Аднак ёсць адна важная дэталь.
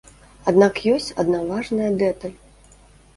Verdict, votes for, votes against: rejected, 0, 2